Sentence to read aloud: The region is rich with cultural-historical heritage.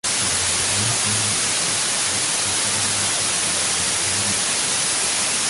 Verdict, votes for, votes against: rejected, 0, 2